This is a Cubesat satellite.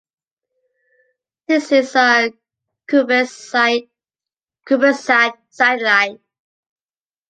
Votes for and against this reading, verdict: 0, 2, rejected